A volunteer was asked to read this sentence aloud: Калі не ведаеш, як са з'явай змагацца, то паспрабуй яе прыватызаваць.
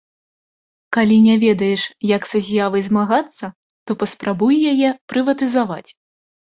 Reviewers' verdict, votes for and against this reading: accepted, 2, 0